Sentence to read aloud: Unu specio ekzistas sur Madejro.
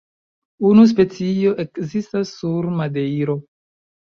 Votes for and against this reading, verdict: 2, 1, accepted